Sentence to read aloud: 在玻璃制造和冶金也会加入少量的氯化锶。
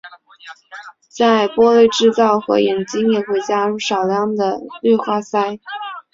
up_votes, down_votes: 4, 0